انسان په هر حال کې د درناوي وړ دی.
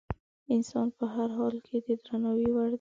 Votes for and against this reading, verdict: 0, 2, rejected